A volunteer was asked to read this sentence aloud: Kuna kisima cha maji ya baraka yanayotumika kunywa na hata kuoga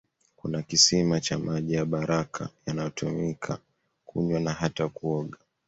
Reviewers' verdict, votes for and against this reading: accepted, 2, 0